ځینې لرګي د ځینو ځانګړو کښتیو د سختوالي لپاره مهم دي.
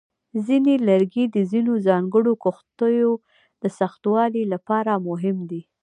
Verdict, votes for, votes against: rejected, 1, 2